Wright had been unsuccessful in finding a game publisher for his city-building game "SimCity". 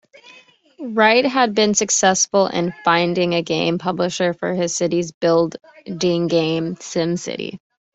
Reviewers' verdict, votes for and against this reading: rejected, 0, 2